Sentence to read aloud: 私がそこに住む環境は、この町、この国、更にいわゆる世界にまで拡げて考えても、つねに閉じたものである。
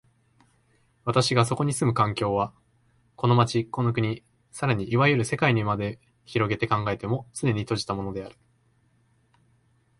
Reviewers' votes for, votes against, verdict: 2, 0, accepted